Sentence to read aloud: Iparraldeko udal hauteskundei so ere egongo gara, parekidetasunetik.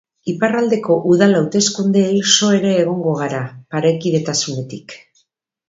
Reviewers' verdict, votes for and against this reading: accepted, 2, 0